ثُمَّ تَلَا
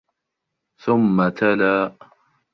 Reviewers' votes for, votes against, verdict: 2, 0, accepted